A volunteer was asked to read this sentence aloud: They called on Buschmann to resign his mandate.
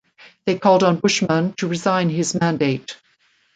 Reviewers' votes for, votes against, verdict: 2, 0, accepted